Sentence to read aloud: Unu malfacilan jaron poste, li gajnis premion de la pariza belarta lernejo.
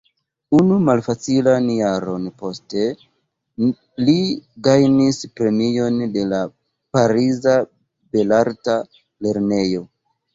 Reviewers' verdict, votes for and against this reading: rejected, 1, 2